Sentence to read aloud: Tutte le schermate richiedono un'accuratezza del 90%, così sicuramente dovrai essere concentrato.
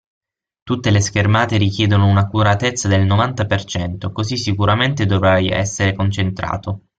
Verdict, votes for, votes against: rejected, 0, 2